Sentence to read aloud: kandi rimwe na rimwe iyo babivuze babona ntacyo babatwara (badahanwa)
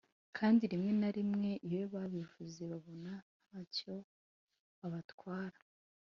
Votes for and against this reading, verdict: 0, 2, rejected